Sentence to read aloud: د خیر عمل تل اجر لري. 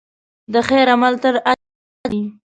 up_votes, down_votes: 1, 3